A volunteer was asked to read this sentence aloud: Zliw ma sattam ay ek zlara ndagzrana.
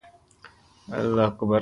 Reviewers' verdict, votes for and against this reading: rejected, 0, 2